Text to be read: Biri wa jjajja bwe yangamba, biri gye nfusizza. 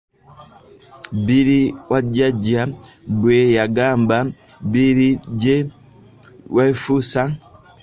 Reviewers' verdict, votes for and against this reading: rejected, 0, 2